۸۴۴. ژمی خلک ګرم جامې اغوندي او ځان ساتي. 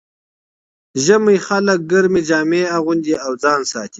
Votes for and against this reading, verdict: 0, 2, rejected